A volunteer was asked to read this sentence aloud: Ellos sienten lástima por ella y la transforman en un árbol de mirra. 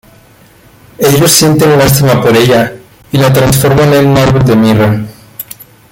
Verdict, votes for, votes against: rejected, 1, 3